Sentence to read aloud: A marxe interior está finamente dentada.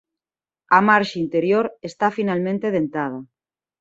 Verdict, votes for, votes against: rejected, 1, 2